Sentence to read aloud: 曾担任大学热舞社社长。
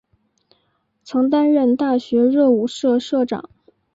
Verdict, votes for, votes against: accepted, 2, 0